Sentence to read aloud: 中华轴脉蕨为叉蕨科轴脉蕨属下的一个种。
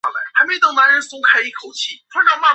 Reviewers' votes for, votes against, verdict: 0, 2, rejected